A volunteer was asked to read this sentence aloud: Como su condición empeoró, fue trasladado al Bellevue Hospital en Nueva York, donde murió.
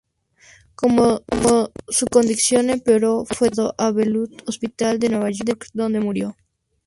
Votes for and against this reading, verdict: 0, 2, rejected